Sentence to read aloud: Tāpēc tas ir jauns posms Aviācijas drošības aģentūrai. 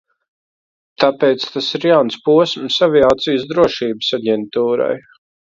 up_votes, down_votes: 2, 0